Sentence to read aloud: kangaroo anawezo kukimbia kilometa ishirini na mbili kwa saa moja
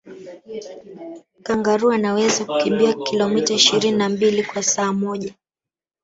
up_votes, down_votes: 0, 2